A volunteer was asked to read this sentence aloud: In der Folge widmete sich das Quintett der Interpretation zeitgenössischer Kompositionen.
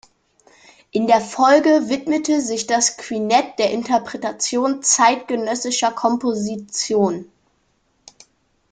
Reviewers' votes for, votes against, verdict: 0, 2, rejected